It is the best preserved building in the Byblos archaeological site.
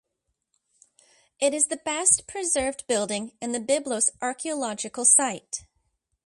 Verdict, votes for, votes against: accepted, 2, 0